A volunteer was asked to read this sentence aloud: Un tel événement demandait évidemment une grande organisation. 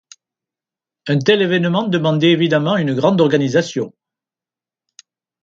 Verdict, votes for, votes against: accepted, 2, 0